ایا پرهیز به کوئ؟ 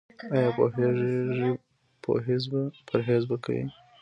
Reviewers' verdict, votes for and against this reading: rejected, 1, 2